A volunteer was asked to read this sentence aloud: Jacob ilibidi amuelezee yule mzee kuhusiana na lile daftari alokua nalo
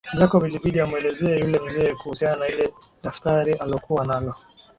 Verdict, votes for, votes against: accepted, 2, 1